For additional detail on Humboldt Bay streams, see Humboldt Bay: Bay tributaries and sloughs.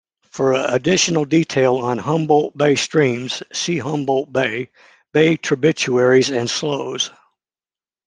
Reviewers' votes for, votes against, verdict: 2, 0, accepted